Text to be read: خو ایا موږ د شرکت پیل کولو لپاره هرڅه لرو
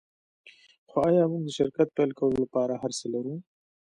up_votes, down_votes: 0, 2